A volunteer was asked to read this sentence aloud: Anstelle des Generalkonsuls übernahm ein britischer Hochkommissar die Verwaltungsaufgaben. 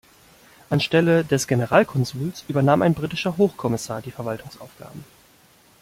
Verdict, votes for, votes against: accepted, 2, 0